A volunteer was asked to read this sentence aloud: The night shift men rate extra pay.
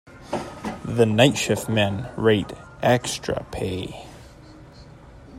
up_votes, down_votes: 2, 0